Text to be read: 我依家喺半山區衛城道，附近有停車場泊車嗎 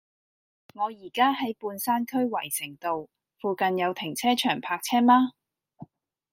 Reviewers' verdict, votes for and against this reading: accepted, 2, 0